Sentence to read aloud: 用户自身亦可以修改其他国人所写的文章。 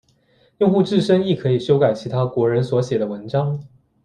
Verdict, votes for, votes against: accepted, 2, 0